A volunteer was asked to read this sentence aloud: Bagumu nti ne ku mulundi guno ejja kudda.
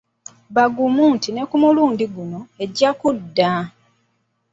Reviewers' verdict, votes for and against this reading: accepted, 2, 0